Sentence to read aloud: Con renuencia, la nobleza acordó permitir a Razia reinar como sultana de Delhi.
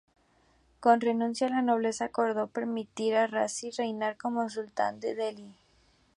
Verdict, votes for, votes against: rejected, 0, 2